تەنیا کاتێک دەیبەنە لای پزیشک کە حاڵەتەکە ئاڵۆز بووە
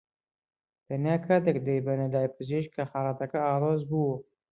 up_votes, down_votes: 2, 0